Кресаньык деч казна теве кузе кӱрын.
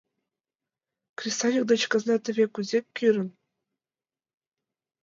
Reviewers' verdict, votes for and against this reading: accepted, 3, 2